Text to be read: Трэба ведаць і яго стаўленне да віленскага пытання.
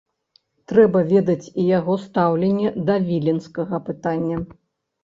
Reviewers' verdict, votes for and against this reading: accepted, 2, 0